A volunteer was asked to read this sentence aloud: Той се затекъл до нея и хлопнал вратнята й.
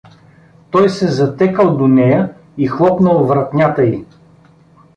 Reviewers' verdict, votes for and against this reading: rejected, 1, 2